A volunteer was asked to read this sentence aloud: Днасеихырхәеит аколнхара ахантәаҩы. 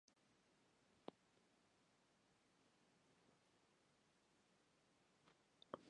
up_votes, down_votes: 0, 2